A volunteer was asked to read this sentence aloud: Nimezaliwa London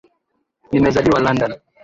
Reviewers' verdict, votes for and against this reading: accepted, 2, 0